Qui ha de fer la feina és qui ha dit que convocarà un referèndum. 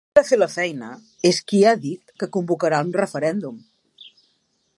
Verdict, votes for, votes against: rejected, 0, 2